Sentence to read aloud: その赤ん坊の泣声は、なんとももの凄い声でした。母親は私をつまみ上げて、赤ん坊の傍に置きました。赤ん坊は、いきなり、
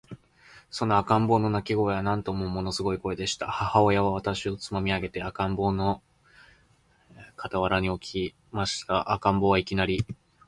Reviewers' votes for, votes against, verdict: 1, 2, rejected